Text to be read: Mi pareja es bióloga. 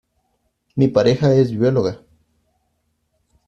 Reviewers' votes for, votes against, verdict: 2, 0, accepted